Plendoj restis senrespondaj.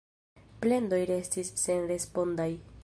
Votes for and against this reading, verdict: 0, 2, rejected